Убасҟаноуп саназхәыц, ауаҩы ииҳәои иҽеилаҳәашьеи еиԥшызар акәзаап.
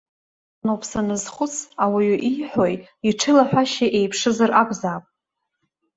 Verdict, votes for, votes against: rejected, 0, 2